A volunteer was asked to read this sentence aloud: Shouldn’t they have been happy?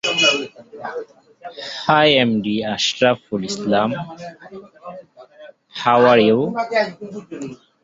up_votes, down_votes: 0, 2